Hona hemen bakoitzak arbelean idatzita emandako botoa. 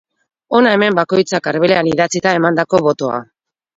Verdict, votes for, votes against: accepted, 6, 0